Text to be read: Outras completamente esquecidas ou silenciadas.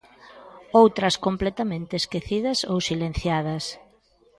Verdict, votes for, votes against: accepted, 2, 0